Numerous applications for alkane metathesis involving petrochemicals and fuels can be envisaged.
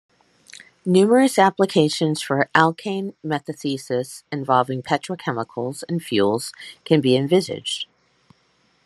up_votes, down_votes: 2, 0